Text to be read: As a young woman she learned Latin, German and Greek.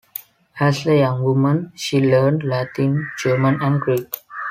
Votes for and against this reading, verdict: 2, 0, accepted